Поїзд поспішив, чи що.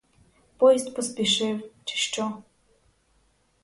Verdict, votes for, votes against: accepted, 4, 0